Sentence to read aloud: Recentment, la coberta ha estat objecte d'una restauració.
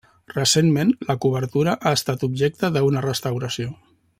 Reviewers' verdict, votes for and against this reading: rejected, 1, 2